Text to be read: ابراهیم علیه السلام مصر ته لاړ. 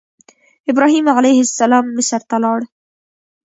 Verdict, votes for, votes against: rejected, 0, 2